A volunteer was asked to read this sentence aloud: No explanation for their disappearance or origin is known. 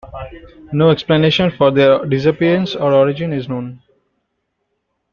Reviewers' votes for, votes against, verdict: 0, 2, rejected